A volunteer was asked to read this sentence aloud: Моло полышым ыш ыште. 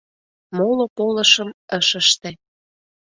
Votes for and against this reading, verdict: 2, 0, accepted